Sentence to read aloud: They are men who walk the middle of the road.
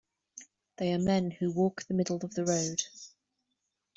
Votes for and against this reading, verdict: 2, 0, accepted